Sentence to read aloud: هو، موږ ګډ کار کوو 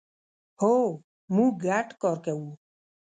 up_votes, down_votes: 1, 2